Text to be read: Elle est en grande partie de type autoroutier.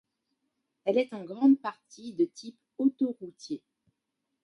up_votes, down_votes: 2, 0